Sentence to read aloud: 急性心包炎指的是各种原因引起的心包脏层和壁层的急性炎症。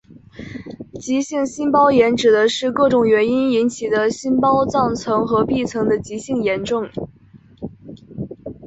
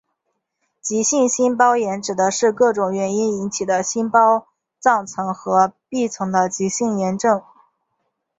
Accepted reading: second